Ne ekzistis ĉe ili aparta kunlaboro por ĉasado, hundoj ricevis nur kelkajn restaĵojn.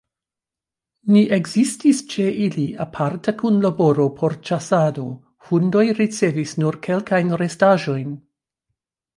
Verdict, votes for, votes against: rejected, 1, 2